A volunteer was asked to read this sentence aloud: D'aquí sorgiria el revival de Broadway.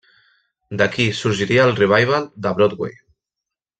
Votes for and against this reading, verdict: 3, 0, accepted